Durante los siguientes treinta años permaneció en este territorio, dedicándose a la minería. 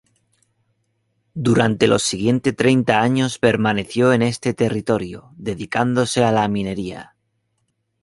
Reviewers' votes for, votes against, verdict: 0, 2, rejected